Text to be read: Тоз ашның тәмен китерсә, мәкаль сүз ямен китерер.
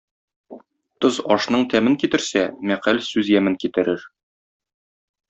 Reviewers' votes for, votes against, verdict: 2, 0, accepted